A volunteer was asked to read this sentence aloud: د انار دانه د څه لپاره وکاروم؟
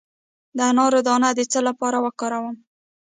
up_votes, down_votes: 1, 2